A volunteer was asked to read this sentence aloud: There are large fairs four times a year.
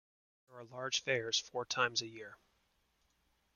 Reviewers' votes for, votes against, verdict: 1, 2, rejected